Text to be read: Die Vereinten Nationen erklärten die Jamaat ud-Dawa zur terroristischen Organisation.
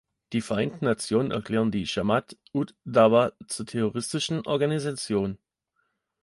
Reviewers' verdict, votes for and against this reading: rejected, 0, 2